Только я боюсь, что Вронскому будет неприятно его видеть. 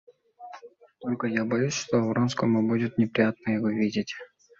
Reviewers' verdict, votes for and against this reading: accepted, 2, 0